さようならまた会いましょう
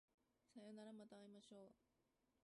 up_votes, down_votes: 1, 2